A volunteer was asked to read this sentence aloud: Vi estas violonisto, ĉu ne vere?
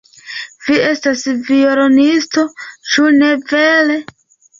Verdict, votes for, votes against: accepted, 2, 0